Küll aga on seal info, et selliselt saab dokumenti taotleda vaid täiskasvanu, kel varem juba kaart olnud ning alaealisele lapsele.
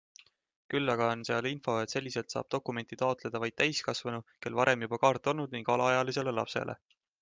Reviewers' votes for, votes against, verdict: 2, 0, accepted